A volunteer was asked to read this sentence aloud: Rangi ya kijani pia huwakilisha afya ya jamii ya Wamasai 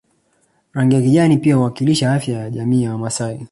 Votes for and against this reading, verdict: 2, 0, accepted